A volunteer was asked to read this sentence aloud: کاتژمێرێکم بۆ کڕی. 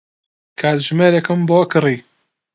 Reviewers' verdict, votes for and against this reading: accepted, 2, 0